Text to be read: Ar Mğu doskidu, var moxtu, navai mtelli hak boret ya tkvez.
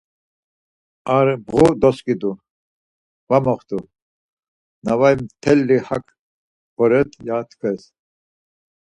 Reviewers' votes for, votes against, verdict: 4, 0, accepted